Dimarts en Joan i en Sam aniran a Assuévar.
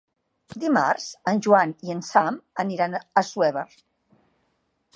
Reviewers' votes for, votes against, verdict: 2, 0, accepted